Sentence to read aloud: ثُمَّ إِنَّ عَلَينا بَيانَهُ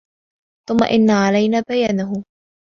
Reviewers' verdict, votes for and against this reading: accepted, 2, 0